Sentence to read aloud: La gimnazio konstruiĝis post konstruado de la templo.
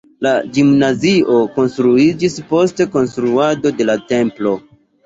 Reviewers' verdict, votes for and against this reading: accepted, 2, 0